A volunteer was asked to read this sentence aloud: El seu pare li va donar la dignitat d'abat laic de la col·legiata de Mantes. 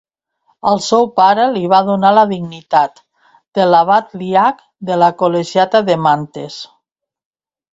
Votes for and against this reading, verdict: 0, 3, rejected